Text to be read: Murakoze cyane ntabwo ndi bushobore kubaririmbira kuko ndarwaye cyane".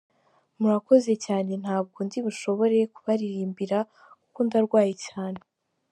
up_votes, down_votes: 2, 1